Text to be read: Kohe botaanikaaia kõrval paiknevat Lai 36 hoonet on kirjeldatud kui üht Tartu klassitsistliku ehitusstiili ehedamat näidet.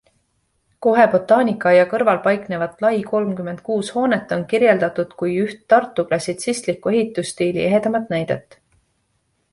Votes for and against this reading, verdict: 0, 2, rejected